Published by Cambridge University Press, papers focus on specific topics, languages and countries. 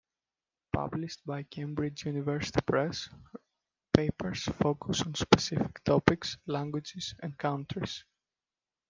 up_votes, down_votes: 1, 2